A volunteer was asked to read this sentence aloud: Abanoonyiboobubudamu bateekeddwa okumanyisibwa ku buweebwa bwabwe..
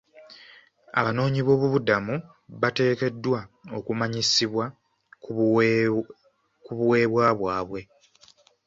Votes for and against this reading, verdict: 0, 2, rejected